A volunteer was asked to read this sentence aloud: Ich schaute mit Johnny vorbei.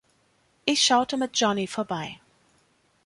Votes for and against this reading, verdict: 2, 0, accepted